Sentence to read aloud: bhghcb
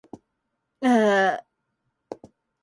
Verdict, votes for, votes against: rejected, 0, 2